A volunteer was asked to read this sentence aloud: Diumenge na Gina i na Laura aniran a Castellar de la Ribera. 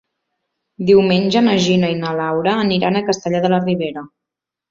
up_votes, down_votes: 2, 0